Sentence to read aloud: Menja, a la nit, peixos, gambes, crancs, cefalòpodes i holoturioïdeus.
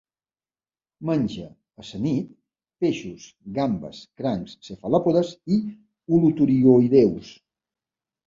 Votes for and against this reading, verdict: 0, 2, rejected